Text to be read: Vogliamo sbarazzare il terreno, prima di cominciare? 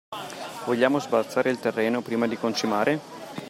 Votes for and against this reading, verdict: 0, 2, rejected